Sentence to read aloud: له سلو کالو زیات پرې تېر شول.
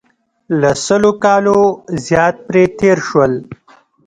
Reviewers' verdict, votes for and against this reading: accepted, 2, 0